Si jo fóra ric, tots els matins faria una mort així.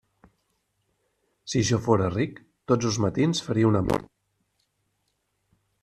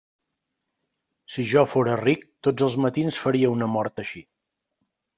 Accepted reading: second